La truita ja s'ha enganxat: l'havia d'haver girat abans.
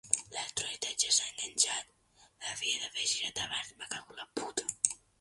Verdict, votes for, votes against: rejected, 0, 2